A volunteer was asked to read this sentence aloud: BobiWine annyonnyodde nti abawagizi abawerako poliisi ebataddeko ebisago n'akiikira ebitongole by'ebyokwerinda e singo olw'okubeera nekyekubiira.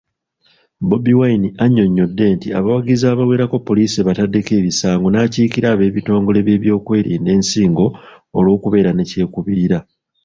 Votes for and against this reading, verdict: 1, 2, rejected